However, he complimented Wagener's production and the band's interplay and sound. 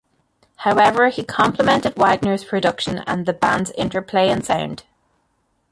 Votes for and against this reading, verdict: 1, 2, rejected